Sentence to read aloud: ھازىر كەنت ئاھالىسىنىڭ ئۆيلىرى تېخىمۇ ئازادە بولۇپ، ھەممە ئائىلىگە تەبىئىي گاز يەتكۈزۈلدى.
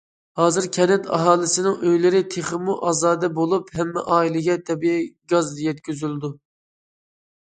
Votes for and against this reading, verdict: 0, 2, rejected